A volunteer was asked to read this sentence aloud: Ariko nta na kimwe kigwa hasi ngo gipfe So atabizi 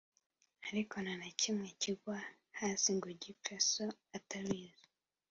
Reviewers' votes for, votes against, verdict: 2, 0, accepted